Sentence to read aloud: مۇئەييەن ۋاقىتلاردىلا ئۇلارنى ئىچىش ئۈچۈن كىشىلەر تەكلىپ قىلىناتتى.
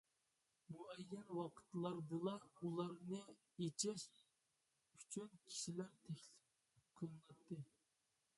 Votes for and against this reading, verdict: 1, 2, rejected